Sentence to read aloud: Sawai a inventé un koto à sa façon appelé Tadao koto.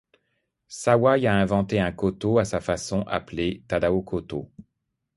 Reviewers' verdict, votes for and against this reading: accepted, 2, 0